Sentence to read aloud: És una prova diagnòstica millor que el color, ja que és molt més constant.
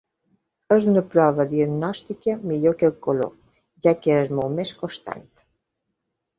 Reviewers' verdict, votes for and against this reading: accepted, 2, 0